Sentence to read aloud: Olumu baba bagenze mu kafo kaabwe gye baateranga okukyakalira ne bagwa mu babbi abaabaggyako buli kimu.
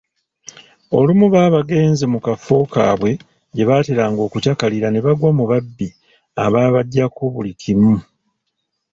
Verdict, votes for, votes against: accepted, 2, 0